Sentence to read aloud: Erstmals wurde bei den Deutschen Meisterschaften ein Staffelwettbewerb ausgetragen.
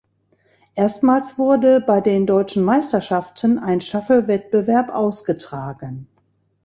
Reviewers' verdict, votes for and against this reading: rejected, 1, 2